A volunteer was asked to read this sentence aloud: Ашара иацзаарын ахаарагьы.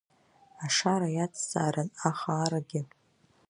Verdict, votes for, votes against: accepted, 2, 0